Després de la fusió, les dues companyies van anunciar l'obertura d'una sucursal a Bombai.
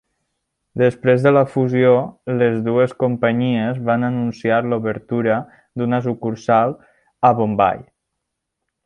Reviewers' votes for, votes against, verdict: 2, 0, accepted